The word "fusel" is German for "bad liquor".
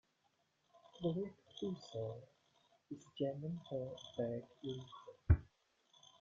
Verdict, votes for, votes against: accepted, 2, 1